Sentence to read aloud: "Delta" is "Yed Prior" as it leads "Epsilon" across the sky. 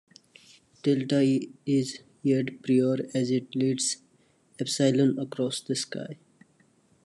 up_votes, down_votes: 1, 2